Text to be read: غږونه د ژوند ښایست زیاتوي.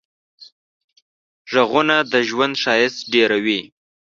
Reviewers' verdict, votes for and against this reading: rejected, 1, 2